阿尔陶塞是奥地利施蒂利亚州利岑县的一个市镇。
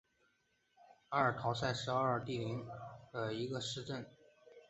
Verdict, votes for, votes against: accepted, 3, 2